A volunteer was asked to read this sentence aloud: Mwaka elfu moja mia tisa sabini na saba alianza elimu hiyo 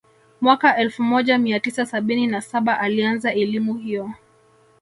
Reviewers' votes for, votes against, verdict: 2, 0, accepted